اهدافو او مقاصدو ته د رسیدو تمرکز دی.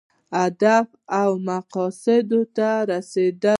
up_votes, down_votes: 0, 2